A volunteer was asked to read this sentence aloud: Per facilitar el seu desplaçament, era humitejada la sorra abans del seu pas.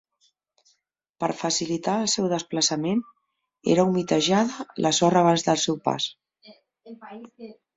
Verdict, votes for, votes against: rejected, 1, 2